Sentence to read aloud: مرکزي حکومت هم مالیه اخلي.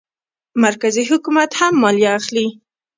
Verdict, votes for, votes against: rejected, 0, 2